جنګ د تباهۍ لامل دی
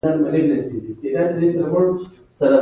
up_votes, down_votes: 0, 2